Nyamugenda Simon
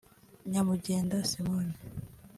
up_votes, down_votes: 2, 1